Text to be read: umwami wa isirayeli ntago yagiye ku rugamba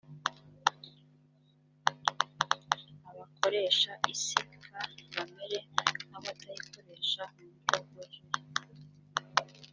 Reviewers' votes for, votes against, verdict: 0, 2, rejected